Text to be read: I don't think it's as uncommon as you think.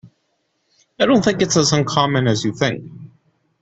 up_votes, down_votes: 2, 1